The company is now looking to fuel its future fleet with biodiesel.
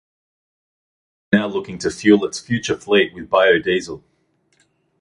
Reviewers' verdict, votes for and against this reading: rejected, 0, 2